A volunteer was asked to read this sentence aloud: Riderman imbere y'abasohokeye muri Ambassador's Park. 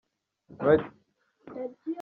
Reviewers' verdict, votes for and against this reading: rejected, 0, 2